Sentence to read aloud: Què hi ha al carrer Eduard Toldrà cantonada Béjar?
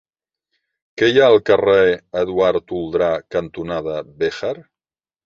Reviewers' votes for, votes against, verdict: 3, 0, accepted